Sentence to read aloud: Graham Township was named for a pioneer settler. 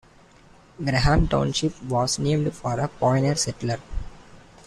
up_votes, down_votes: 0, 2